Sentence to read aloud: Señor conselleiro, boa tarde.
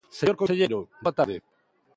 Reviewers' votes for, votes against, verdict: 0, 2, rejected